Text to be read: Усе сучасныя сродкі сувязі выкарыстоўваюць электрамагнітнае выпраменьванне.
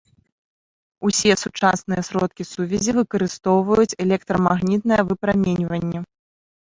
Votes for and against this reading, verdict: 1, 2, rejected